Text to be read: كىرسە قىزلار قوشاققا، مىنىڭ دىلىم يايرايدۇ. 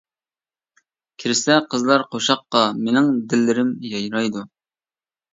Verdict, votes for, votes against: rejected, 1, 2